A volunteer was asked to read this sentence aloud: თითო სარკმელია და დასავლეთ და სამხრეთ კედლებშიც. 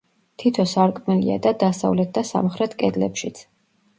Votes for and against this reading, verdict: 2, 0, accepted